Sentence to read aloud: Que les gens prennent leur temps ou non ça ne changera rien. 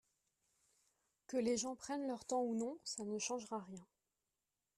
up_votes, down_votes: 2, 0